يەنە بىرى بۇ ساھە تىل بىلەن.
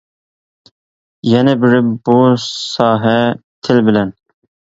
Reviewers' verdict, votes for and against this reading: accepted, 2, 0